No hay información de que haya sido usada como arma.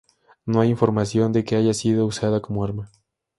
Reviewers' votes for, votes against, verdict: 2, 0, accepted